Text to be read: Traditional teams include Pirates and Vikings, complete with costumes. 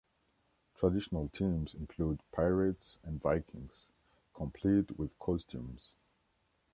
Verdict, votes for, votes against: accepted, 2, 0